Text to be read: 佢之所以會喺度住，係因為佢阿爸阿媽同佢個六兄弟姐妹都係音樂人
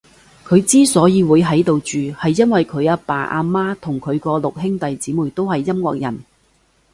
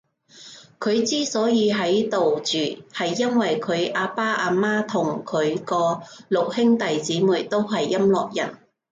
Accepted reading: first